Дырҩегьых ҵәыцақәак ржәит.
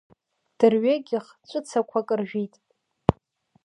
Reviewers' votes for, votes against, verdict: 1, 2, rejected